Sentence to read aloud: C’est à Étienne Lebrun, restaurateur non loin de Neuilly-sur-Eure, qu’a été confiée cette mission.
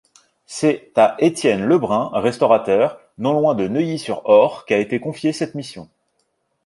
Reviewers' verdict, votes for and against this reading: rejected, 1, 2